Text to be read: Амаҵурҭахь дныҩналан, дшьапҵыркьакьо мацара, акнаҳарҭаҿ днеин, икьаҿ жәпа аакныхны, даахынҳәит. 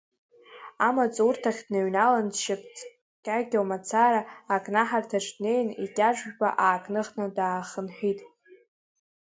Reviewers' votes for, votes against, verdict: 2, 0, accepted